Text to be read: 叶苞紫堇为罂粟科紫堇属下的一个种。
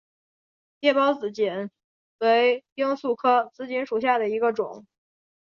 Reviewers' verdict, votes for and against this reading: rejected, 2, 3